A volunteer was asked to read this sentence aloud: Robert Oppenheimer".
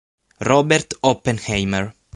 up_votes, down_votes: 6, 3